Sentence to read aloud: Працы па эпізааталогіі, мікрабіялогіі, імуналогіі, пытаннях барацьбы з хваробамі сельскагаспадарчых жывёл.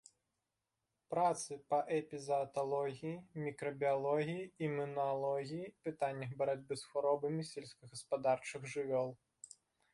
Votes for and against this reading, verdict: 0, 2, rejected